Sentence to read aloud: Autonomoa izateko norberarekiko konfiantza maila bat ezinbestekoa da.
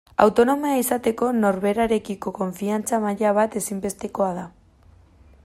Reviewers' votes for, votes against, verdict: 2, 0, accepted